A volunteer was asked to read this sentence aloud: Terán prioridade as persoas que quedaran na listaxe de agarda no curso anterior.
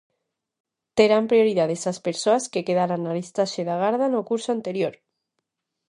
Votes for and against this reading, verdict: 0, 2, rejected